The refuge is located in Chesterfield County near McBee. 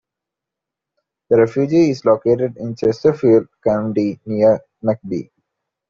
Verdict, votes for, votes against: rejected, 0, 2